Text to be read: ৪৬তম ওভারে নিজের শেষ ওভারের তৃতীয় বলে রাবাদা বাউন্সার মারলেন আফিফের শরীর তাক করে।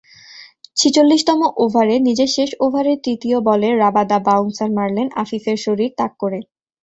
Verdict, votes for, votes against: rejected, 0, 2